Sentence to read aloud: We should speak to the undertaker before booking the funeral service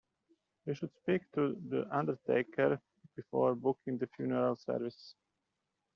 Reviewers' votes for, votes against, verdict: 2, 0, accepted